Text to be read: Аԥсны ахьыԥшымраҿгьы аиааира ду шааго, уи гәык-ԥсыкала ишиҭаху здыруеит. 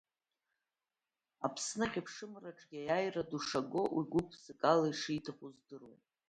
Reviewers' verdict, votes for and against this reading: rejected, 1, 2